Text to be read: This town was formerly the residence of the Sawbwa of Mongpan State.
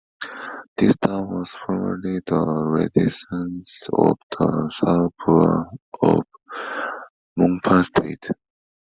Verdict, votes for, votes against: rejected, 1, 2